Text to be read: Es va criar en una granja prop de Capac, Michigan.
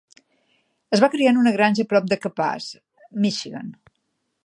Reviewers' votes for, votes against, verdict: 1, 2, rejected